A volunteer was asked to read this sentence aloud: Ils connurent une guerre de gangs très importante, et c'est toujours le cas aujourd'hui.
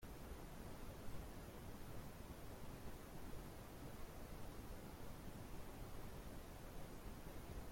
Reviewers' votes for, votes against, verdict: 0, 2, rejected